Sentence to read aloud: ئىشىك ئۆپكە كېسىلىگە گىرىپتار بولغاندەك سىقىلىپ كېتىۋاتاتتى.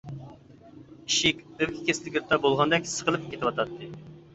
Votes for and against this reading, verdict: 0, 2, rejected